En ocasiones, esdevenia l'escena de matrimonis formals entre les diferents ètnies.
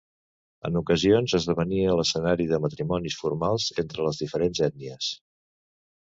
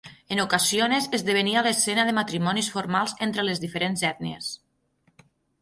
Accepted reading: second